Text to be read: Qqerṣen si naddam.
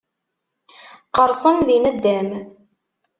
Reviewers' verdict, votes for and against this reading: rejected, 0, 2